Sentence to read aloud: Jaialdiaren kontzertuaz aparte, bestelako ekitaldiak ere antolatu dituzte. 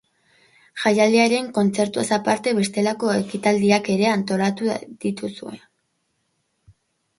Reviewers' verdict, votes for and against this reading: rejected, 0, 2